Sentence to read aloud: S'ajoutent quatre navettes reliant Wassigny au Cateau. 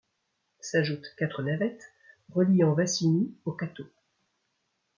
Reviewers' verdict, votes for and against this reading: accepted, 2, 0